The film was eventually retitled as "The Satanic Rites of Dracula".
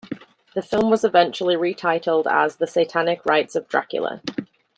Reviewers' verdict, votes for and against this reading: accepted, 3, 2